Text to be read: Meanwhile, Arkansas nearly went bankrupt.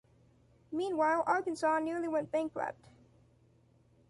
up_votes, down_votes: 2, 0